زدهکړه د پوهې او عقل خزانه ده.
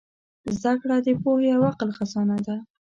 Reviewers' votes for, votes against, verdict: 2, 0, accepted